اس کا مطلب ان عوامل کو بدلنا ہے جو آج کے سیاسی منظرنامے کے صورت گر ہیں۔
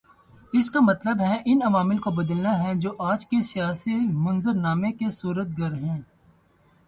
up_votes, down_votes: 0, 2